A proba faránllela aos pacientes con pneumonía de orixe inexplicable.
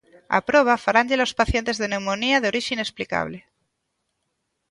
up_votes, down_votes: 0, 2